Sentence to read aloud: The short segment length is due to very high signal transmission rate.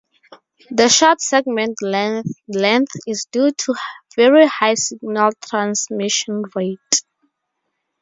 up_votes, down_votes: 0, 4